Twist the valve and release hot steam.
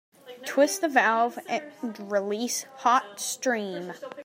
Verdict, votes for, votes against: rejected, 1, 2